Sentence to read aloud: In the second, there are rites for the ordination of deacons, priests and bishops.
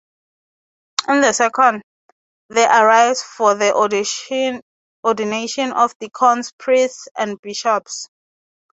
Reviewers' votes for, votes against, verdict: 0, 3, rejected